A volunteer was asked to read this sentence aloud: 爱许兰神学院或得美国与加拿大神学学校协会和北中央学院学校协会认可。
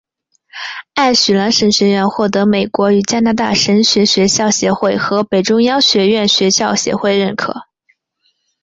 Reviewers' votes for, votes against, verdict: 4, 0, accepted